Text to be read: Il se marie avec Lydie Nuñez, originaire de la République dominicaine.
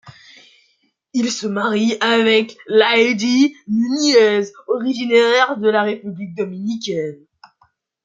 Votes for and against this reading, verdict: 1, 2, rejected